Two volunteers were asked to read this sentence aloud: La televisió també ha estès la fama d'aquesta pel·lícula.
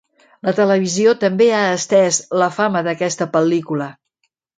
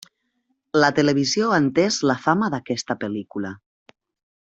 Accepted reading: first